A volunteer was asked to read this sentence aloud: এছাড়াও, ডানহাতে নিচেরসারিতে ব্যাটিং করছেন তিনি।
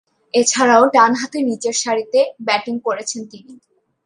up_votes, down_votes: 2, 1